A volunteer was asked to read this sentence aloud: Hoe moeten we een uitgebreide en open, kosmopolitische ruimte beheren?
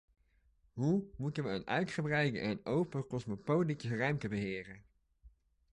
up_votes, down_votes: 1, 2